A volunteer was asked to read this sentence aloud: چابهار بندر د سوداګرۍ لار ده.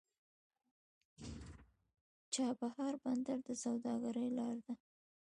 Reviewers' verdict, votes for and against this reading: accepted, 2, 1